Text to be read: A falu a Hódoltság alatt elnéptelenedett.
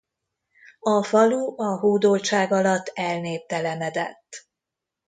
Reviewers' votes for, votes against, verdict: 0, 2, rejected